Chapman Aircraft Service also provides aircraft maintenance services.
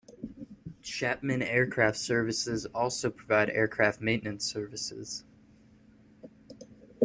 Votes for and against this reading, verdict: 0, 2, rejected